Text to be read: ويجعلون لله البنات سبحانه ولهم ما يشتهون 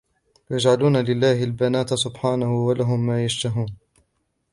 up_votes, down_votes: 1, 3